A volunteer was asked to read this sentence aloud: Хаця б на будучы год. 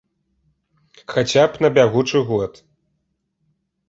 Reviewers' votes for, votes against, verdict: 1, 2, rejected